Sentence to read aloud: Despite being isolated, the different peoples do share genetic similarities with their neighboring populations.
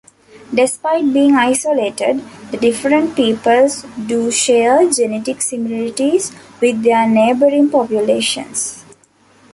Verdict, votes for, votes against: accepted, 2, 0